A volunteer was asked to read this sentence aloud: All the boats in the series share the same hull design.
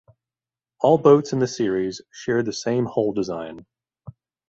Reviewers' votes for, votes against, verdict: 1, 2, rejected